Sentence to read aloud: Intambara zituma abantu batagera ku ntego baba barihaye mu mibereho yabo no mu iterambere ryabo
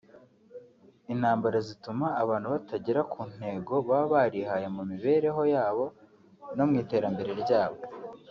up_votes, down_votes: 1, 2